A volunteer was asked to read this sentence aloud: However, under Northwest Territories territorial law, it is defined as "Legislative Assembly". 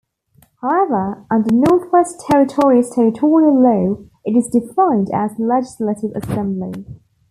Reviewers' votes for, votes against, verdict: 2, 1, accepted